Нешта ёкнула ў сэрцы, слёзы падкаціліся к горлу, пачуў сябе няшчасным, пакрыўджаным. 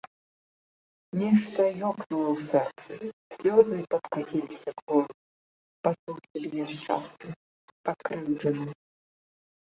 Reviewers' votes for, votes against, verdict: 0, 2, rejected